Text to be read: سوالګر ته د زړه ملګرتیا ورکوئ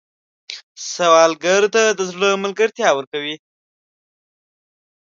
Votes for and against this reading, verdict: 1, 2, rejected